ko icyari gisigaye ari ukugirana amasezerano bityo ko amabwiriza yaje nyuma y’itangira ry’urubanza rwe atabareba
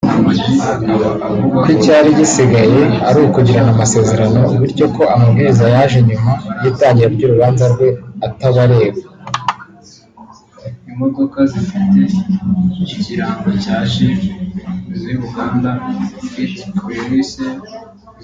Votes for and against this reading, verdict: 0, 2, rejected